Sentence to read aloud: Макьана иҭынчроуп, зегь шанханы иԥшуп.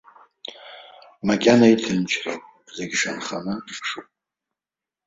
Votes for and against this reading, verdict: 2, 0, accepted